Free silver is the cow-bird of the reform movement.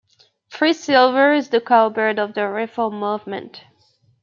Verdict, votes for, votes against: accepted, 2, 0